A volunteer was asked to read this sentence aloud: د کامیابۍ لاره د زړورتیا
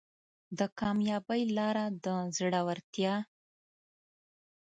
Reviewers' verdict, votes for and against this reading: accepted, 2, 0